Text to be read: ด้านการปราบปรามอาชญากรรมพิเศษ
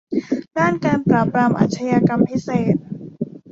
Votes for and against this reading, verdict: 1, 2, rejected